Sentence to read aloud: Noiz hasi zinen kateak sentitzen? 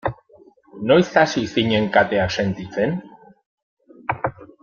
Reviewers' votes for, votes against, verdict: 2, 0, accepted